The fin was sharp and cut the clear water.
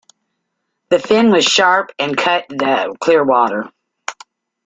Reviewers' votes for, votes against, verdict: 2, 0, accepted